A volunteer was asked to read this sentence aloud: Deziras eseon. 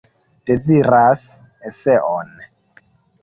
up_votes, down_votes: 2, 0